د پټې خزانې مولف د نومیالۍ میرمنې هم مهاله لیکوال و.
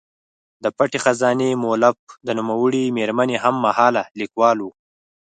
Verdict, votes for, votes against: rejected, 0, 4